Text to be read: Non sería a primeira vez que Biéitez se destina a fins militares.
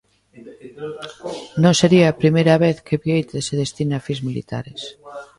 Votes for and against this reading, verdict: 1, 2, rejected